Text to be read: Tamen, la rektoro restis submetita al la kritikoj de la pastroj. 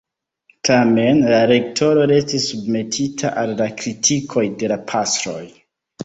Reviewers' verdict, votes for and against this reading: accepted, 2, 0